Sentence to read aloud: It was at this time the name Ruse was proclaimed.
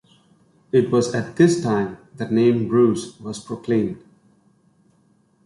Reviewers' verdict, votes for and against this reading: accepted, 2, 0